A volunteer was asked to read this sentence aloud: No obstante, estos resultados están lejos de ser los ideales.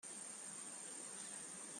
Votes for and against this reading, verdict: 0, 2, rejected